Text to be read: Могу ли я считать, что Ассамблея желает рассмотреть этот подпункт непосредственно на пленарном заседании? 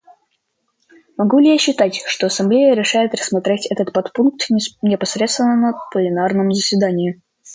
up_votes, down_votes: 0, 2